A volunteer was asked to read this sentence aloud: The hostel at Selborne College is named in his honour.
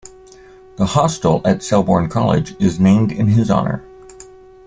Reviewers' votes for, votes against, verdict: 2, 0, accepted